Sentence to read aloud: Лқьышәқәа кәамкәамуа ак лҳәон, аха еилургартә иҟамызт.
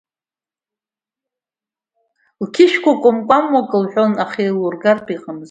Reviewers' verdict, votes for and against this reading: accepted, 3, 1